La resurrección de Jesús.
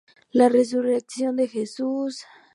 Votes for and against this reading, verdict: 2, 0, accepted